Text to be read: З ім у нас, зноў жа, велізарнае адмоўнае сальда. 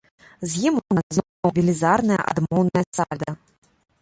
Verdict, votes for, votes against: rejected, 0, 2